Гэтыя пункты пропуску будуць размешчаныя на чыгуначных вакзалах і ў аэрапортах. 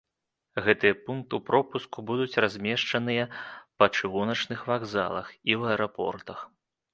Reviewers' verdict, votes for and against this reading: rejected, 1, 2